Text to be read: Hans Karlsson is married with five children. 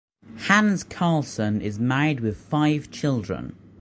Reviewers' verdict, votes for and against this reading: accepted, 2, 0